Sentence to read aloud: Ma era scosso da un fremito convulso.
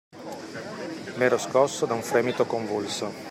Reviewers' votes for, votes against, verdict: 2, 0, accepted